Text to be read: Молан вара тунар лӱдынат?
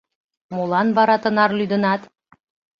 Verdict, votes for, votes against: rejected, 0, 2